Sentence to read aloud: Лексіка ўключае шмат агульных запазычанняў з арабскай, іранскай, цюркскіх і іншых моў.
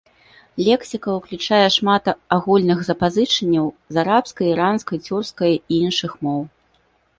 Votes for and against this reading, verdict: 1, 2, rejected